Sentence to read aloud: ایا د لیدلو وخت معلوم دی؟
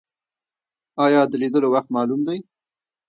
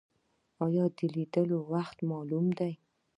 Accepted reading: second